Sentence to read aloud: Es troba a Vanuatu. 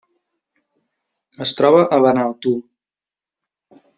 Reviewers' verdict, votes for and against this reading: rejected, 0, 2